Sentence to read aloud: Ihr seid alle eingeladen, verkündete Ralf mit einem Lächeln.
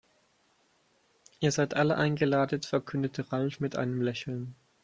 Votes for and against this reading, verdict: 2, 4, rejected